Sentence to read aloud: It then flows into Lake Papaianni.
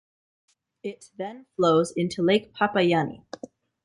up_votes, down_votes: 2, 0